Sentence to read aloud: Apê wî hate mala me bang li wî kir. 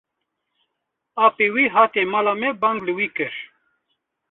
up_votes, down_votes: 0, 2